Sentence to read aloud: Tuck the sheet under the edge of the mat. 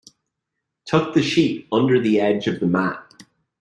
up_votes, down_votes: 2, 0